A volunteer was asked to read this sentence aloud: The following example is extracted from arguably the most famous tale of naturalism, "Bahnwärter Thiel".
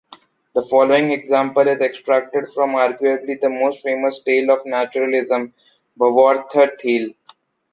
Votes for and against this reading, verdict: 2, 0, accepted